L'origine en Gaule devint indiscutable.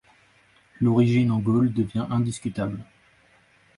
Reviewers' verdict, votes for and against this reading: accepted, 3, 0